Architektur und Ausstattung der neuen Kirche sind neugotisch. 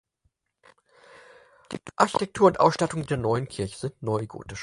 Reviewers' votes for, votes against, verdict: 4, 2, accepted